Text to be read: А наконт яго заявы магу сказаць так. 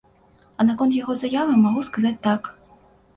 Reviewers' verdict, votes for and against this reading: accepted, 2, 0